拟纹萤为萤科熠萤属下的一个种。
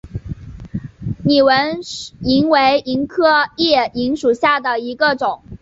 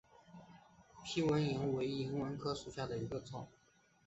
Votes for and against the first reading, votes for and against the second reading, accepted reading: 2, 1, 1, 3, first